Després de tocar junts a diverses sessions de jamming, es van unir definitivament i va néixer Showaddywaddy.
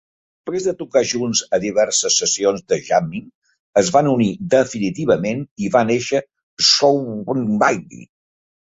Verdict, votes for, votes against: rejected, 1, 2